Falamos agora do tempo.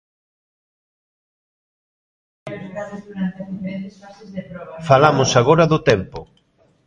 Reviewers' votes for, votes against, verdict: 0, 2, rejected